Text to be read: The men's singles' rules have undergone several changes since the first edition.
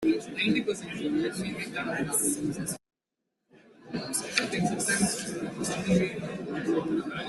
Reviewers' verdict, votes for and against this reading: rejected, 0, 2